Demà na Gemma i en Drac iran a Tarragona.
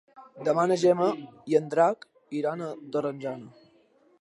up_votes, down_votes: 1, 3